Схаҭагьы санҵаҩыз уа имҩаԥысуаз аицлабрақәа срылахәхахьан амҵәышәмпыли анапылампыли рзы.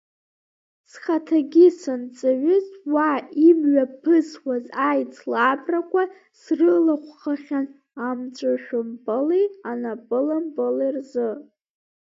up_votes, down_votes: 2, 0